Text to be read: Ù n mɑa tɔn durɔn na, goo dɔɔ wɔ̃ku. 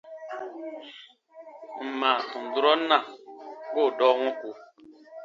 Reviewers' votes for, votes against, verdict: 0, 2, rejected